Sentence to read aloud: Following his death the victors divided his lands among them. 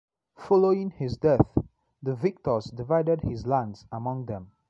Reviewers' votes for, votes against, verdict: 2, 0, accepted